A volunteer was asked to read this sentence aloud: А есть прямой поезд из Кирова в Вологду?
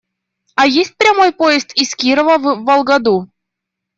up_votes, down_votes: 0, 2